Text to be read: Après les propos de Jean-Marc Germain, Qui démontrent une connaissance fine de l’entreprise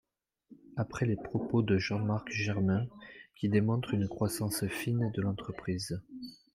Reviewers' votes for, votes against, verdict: 1, 2, rejected